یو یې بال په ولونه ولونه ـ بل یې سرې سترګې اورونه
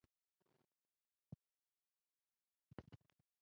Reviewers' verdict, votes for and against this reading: rejected, 0, 2